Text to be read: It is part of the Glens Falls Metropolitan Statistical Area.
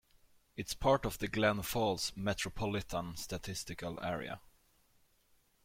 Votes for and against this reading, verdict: 0, 2, rejected